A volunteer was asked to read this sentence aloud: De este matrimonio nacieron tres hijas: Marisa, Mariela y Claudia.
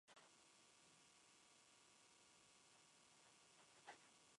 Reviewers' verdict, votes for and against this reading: rejected, 0, 2